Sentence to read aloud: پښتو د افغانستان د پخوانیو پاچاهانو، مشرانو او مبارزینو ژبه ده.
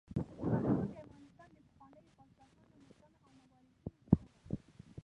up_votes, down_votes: 0, 2